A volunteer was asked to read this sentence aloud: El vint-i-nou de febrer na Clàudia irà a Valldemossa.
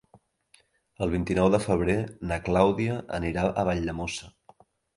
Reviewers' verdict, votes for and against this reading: rejected, 2, 3